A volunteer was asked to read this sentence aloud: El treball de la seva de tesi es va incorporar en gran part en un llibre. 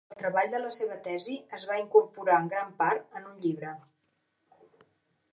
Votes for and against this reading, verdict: 1, 2, rejected